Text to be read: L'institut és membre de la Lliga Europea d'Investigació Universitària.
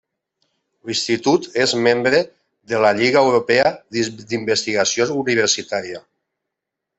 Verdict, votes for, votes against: rejected, 0, 2